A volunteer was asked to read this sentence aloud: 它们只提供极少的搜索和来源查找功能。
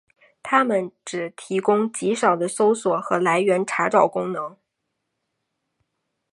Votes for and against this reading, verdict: 8, 0, accepted